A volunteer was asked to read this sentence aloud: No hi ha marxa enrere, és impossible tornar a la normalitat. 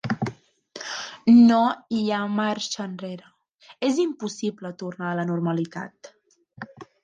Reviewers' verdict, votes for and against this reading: accepted, 2, 0